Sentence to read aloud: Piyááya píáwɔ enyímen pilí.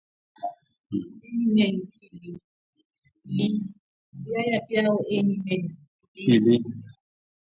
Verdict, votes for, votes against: rejected, 0, 2